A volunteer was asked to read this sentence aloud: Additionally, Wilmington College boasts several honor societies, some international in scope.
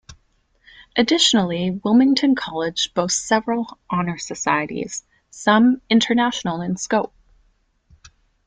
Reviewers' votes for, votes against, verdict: 2, 1, accepted